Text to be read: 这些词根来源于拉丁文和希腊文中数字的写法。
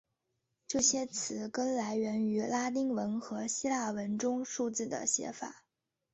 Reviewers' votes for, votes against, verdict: 2, 0, accepted